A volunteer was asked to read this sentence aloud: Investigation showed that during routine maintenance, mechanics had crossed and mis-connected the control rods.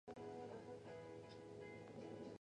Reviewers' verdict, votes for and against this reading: rejected, 0, 2